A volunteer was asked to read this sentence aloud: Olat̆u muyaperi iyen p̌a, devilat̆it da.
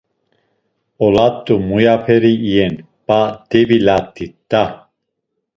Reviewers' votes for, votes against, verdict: 2, 0, accepted